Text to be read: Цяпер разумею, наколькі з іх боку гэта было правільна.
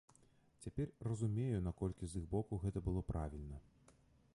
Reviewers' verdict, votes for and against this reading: rejected, 0, 2